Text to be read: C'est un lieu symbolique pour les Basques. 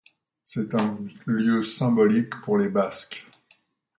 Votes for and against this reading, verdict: 2, 0, accepted